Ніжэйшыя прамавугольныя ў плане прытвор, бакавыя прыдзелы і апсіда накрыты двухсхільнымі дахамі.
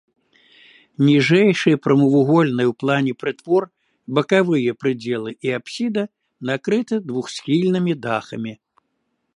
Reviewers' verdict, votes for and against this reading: accepted, 2, 0